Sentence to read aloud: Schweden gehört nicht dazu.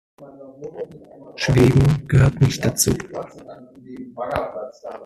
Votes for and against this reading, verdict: 1, 2, rejected